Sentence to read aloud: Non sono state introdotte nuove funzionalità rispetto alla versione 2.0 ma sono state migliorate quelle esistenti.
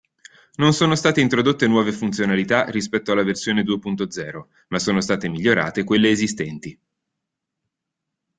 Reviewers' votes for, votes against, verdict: 0, 2, rejected